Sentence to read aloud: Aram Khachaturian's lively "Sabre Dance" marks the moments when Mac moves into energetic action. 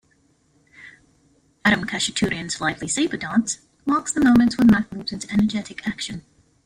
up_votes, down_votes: 2, 1